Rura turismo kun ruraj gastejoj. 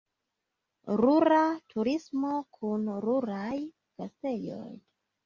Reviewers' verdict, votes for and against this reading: accepted, 3, 1